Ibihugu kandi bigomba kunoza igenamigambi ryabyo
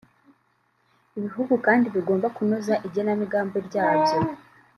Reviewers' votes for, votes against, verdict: 0, 2, rejected